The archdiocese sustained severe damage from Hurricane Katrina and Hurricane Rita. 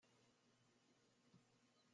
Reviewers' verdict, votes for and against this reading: rejected, 0, 2